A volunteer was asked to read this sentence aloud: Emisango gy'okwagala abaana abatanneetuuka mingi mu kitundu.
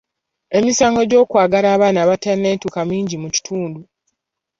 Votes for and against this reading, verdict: 2, 0, accepted